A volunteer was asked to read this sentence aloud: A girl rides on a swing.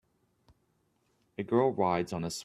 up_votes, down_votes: 0, 2